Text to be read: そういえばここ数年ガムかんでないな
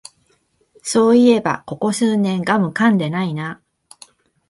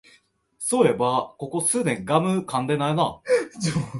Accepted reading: first